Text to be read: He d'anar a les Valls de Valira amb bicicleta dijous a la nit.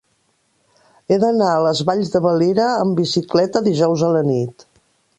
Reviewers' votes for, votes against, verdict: 2, 0, accepted